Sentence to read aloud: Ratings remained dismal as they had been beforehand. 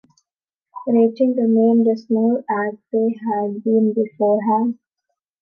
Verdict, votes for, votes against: accepted, 2, 0